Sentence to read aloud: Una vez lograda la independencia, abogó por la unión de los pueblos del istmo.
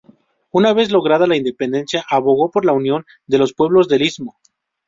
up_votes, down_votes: 2, 0